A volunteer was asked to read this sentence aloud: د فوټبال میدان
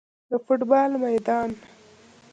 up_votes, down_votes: 2, 0